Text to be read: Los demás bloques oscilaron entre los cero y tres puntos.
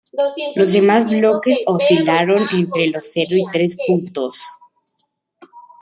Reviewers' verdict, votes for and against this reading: rejected, 0, 2